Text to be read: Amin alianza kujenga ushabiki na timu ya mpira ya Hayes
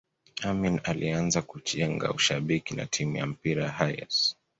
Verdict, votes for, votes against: accepted, 2, 0